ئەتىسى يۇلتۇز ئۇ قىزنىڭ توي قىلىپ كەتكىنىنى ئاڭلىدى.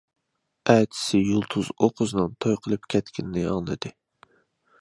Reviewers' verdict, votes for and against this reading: accepted, 2, 0